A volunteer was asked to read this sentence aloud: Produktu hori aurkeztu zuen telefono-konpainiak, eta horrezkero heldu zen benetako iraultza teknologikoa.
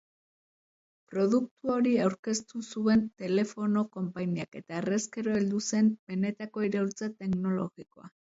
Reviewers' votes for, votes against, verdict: 2, 0, accepted